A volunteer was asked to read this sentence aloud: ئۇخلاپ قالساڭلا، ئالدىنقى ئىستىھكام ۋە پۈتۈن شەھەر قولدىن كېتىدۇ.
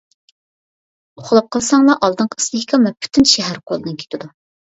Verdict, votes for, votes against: rejected, 0, 2